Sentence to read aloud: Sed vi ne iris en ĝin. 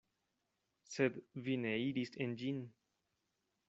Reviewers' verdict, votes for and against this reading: accepted, 2, 0